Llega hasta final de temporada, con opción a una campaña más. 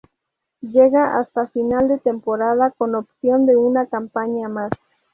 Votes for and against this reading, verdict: 2, 0, accepted